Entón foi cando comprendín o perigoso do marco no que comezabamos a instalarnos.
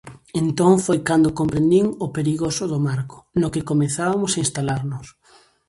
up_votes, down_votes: 0, 2